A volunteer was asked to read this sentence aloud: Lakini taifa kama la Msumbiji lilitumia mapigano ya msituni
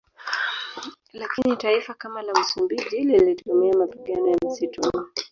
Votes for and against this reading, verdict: 0, 2, rejected